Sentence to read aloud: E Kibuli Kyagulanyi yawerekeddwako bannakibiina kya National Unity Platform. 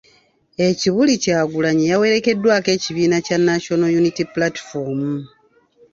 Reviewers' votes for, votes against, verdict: 1, 2, rejected